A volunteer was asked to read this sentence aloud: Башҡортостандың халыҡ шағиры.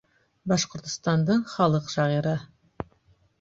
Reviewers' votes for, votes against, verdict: 3, 0, accepted